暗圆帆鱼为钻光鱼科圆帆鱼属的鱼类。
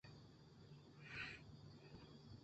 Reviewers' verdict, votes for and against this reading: rejected, 0, 2